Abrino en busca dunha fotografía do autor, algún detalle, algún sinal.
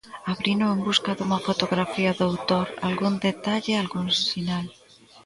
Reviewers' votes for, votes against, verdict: 2, 0, accepted